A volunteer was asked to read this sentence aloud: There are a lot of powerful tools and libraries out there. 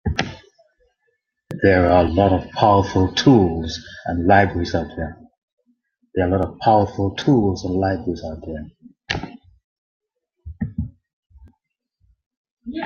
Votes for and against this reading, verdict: 1, 2, rejected